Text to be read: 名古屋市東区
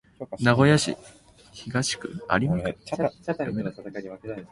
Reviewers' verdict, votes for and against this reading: rejected, 3, 4